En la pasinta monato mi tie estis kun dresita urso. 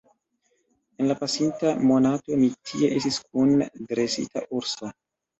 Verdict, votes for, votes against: accepted, 2, 1